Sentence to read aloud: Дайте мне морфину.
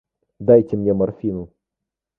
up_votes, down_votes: 2, 0